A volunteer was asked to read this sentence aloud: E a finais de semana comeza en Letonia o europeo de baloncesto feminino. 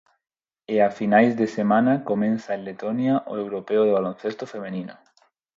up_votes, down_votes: 0, 4